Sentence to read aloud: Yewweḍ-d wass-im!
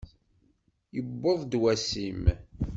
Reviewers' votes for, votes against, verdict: 2, 0, accepted